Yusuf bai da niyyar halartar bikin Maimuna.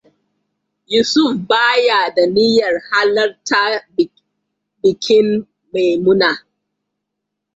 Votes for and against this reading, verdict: 0, 2, rejected